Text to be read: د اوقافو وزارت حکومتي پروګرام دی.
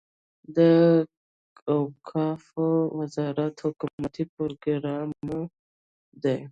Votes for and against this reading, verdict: 1, 2, rejected